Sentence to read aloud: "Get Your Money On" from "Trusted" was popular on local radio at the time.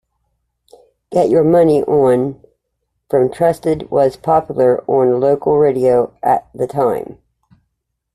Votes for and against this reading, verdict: 2, 0, accepted